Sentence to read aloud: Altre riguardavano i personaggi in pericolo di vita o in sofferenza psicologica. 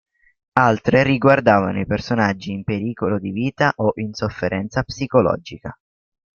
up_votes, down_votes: 3, 0